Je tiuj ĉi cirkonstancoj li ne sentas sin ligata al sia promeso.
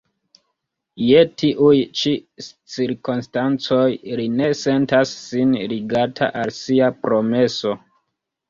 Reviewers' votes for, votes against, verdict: 1, 2, rejected